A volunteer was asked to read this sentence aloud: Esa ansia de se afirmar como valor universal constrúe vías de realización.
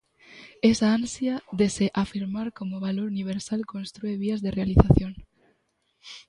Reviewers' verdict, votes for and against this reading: accepted, 2, 0